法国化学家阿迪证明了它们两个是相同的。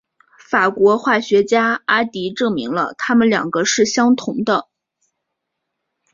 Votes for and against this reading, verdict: 4, 0, accepted